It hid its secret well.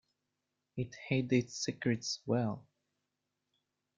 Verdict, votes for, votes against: rejected, 1, 2